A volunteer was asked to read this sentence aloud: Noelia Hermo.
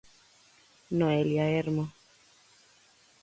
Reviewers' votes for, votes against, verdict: 4, 0, accepted